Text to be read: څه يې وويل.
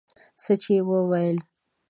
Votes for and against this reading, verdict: 1, 2, rejected